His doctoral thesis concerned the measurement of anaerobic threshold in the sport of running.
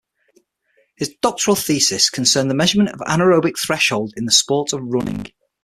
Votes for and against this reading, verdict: 9, 0, accepted